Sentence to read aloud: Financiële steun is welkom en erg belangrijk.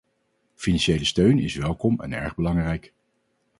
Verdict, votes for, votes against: accepted, 4, 0